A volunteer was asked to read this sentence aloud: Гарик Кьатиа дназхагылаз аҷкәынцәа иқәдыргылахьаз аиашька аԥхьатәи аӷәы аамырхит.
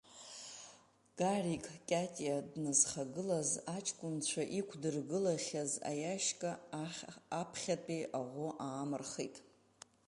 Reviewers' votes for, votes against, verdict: 0, 2, rejected